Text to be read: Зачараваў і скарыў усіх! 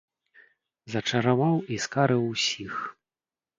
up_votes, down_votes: 0, 2